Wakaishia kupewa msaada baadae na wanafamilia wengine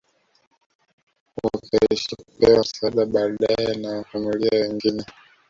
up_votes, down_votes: 1, 2